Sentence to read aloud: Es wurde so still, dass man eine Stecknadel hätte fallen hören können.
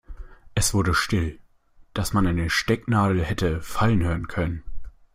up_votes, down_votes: 1, 2